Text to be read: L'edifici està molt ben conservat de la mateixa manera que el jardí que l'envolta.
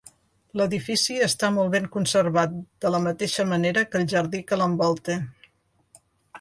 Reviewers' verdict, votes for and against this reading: accepted, 2, 0